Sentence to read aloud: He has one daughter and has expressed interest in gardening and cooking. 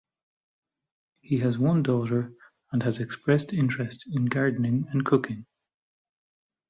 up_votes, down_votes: 2, 0